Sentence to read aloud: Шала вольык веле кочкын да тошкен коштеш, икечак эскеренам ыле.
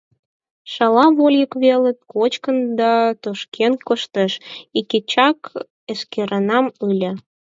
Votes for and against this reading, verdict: 2, 4, rejected